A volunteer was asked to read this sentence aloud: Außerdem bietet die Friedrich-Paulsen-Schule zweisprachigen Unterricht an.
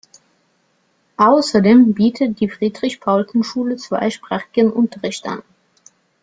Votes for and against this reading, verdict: 2, 0, accepted